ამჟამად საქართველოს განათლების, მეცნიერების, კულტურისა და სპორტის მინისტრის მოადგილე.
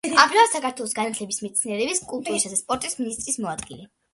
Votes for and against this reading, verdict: 2, 0, accepted